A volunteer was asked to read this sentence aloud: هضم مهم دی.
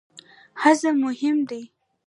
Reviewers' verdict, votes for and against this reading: rejected, 0, 2